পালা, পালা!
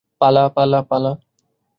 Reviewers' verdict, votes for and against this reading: rejected, 0, 2